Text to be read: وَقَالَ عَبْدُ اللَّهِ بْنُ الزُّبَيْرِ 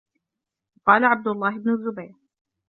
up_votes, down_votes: 1, 2